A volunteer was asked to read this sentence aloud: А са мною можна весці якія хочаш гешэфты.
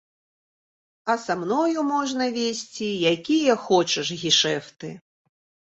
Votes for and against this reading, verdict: 2, 0, accepted